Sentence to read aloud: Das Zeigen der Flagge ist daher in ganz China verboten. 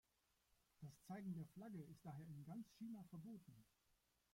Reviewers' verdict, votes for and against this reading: rejected, 1, 2